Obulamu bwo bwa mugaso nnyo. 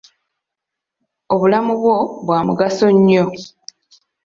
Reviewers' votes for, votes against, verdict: 2, 0, accepted